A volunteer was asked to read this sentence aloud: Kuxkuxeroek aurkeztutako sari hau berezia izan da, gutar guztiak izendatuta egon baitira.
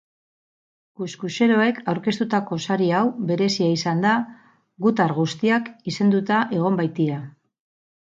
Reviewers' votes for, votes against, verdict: 0, 4, rejected